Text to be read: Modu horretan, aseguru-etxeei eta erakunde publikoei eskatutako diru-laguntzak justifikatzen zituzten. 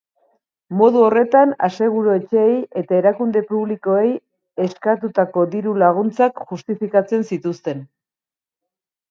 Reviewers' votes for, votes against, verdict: 2, 0, accepted